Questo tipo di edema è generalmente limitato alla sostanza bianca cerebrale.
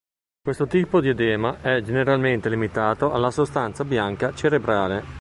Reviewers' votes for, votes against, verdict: 2, 0, accepted